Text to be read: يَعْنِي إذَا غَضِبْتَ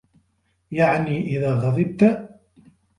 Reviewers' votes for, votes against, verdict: 2, 0, accepted